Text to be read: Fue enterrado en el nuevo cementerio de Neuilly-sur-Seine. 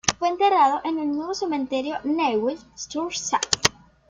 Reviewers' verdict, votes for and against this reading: rejected, 1, 2